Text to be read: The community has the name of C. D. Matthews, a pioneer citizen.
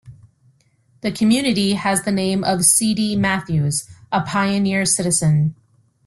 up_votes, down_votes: 0, 2